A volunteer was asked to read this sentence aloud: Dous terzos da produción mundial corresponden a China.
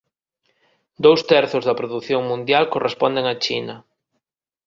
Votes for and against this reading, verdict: 22, 0, accepted